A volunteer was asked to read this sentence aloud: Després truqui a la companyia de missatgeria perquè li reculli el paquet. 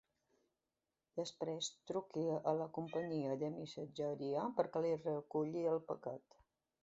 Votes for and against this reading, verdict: 2, 0, accepted